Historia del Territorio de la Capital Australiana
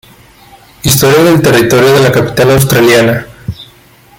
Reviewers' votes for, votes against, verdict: 2, 1, accepted